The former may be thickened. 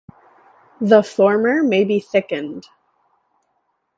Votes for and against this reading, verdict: 2, 0, accepted